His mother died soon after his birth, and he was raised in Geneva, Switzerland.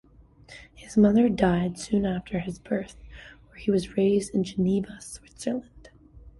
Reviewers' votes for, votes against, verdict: 2, 0, accepted